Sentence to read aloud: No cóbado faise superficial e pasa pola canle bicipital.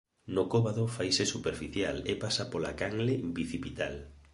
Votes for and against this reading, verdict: 2, 0, accepted